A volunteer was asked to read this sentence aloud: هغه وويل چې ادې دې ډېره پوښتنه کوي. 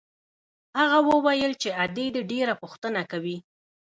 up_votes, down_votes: 2, 0